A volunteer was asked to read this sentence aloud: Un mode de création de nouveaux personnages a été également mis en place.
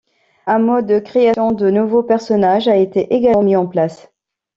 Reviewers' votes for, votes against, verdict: 1, 3, rejected